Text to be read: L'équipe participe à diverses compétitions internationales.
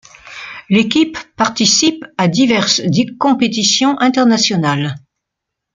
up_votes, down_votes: 1, 2